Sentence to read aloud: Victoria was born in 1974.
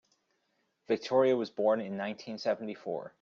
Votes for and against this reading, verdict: 0, 2, rejected